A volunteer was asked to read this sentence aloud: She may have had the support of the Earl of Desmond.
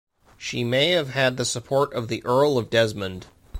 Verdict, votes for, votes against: accepted, 2, 0